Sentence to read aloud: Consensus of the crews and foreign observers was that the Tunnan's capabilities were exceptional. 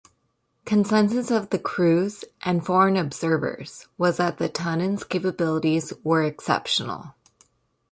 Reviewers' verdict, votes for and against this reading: accepted, 2, 0